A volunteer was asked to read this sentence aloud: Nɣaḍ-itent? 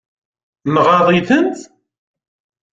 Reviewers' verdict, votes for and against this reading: accepted, 2, 1